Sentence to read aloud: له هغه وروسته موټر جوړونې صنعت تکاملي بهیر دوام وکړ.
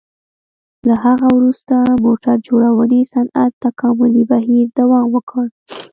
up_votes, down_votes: 2, 0